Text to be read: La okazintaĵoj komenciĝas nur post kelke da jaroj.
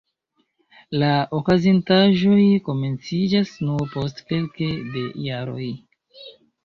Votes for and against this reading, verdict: 2, 3, rejected